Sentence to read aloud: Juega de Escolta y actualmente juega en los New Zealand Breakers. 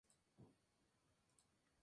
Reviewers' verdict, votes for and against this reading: rejected, 0, 2